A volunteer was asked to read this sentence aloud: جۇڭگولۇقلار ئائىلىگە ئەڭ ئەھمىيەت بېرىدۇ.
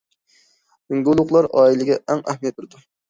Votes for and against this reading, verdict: 0, 2, rejected